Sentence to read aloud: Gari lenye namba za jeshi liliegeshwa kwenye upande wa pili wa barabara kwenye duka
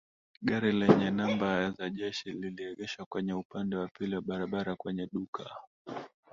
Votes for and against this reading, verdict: 2, 1, accepted